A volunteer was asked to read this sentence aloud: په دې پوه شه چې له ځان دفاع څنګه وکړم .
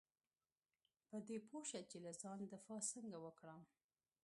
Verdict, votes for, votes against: rejected, 0, 2